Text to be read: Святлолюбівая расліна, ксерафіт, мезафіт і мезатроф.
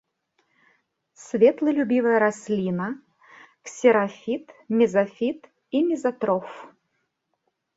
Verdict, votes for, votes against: rejected, 0, 2